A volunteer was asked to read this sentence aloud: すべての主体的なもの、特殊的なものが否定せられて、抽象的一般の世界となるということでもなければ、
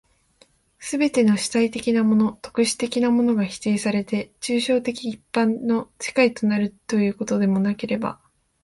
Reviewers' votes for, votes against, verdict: 1, 2, rejected